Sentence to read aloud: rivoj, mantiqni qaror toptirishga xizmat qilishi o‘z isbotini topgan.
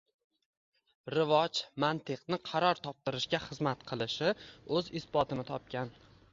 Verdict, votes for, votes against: accepted, 2, 1